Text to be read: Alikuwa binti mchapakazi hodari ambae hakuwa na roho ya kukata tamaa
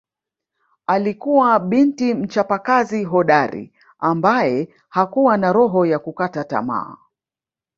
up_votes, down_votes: 2, 0